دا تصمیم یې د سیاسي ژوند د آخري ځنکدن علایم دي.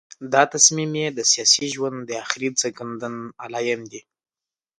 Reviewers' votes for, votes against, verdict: 2, 0, accepted